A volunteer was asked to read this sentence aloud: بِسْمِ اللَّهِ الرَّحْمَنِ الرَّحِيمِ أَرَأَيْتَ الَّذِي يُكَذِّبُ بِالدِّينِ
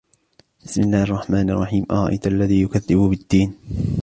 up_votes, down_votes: 2, 0